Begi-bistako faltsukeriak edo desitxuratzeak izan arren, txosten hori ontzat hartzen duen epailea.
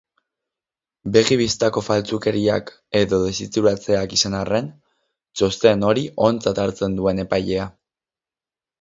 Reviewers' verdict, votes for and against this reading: accepted, 6, 0